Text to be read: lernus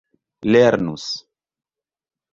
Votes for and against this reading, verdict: 2, 0, accepted